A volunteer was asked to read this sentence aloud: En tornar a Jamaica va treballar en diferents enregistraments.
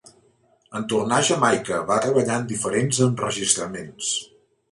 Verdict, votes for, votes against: accepted, 4, 0